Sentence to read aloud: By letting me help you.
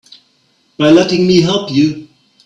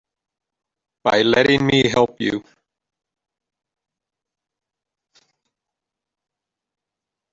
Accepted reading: first